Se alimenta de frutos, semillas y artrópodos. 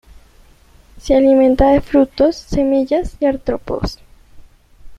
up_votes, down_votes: 2, 0